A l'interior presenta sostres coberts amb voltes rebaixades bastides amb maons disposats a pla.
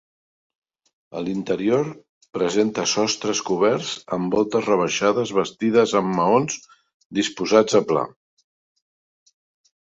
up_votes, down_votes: 2, 1